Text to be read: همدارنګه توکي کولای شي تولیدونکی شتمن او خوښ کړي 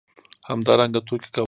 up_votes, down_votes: 0, 2